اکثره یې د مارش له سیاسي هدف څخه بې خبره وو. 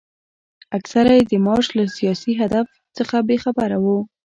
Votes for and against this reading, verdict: 2, 1, accepted